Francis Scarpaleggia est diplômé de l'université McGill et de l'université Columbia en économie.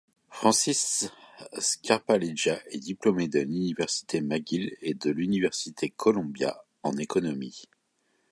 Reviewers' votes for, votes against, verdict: 2, 0, accepted